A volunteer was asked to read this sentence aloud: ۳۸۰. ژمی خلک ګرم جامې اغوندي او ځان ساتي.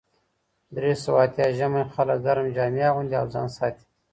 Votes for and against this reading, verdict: 0, 2, rejected